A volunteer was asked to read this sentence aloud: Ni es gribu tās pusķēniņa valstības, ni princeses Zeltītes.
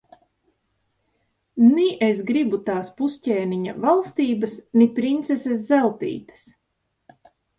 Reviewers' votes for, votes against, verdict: 2, 0, accepted